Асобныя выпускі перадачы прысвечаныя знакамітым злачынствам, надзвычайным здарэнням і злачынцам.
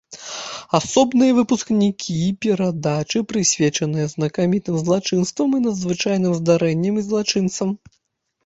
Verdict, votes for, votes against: rejected, 0, 2